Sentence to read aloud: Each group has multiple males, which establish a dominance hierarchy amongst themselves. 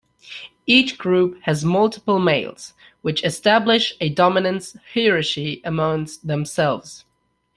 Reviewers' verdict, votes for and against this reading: rejected, 1, 2